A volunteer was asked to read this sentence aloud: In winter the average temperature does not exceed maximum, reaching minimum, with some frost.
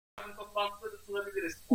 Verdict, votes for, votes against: rejected, 0, 2